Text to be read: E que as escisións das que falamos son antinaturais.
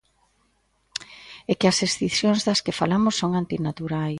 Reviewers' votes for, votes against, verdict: 0, 2, rejected